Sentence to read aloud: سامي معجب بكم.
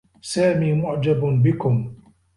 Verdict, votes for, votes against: accepted, 2, 0